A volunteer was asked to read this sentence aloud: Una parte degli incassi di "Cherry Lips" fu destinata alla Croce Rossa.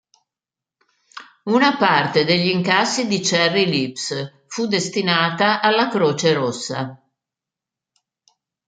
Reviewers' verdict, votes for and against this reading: accepted, 2, 0